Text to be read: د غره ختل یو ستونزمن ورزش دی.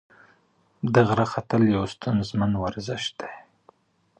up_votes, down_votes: 1, 2